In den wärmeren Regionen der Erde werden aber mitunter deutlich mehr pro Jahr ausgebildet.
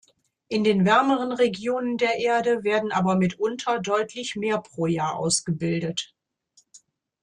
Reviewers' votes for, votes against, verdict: 2, 0, accepted